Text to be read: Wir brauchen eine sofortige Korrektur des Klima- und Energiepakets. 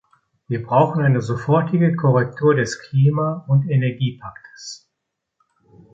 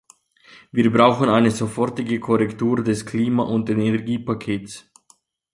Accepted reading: second